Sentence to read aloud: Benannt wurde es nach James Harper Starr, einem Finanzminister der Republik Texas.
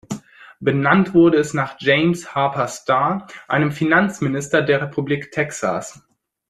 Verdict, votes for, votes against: accepted, 2, 0